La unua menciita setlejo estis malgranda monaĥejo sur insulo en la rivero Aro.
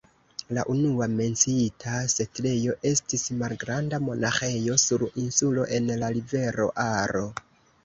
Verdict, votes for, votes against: accepted, 2, 1